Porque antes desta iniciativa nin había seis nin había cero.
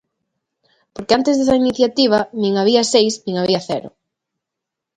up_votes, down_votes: 2, 0